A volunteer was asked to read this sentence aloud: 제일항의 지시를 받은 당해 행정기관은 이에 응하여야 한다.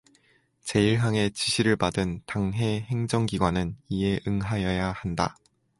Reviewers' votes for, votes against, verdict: 2, 0, accepted